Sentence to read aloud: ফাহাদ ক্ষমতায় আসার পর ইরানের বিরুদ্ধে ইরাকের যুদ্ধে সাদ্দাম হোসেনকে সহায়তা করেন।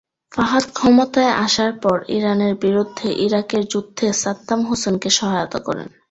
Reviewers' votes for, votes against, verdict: 2, 1, accepted